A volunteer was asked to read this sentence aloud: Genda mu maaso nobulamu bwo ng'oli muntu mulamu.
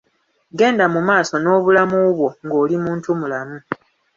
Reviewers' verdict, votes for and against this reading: accepted, 2, 0